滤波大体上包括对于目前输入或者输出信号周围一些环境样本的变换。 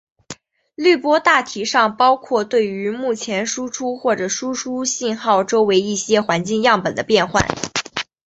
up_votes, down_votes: 3, 1